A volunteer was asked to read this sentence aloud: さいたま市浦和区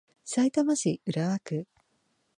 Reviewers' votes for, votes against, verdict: 2, 0, accepted